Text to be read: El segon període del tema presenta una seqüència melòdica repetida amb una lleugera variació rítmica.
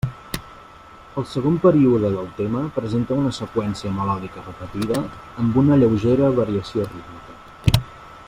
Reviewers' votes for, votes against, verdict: 1, 2, rejected